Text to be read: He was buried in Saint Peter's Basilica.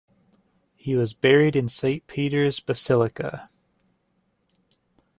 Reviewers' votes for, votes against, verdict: 2, 0, accepted